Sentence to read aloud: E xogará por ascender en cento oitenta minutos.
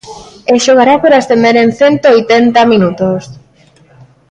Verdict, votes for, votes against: accepted, 2, 0